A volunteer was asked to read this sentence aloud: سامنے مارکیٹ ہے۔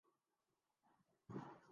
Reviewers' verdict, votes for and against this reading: rejected, 1, 7